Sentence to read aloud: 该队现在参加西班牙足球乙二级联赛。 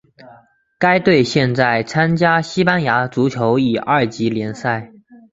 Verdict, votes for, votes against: rejected, 0, 2